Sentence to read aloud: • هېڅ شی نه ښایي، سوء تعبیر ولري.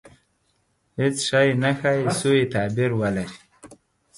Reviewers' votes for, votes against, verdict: 10, 0, accepted